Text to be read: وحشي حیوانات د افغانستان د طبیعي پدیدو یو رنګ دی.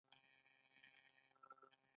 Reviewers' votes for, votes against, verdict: 2, 1, accepted